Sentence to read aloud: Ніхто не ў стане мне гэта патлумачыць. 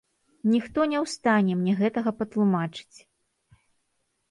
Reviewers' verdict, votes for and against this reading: rejected, 1, 3